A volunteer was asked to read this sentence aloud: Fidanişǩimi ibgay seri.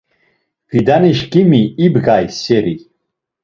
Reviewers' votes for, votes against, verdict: 2, 0, accepted